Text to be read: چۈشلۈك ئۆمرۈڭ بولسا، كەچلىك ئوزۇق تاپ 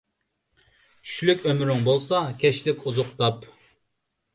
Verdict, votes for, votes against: accepted, 2, 0